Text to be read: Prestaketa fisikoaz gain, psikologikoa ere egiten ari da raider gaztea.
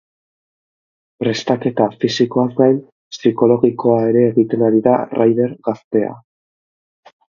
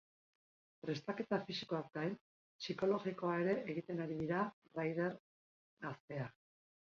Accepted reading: first